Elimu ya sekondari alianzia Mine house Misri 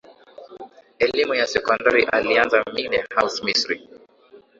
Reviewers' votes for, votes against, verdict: 0, 2, rejected